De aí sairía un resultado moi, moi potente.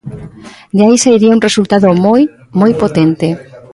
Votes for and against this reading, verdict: 0, 2, rejected